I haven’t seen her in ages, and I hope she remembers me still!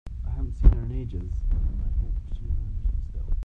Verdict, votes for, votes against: rejected, 0, 2